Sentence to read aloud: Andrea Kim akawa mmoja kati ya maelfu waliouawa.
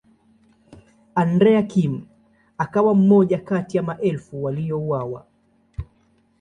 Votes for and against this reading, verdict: 2, 0, accepted